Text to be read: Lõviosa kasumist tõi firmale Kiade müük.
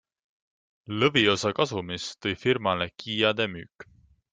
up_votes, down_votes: 2, 0